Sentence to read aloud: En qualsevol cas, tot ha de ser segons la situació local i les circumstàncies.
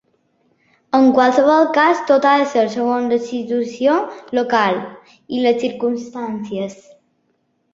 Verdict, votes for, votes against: accepted, 2, 0